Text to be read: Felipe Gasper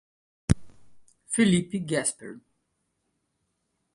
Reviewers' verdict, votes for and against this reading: rejected, 0, 2